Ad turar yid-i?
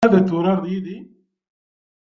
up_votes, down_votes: 0, 2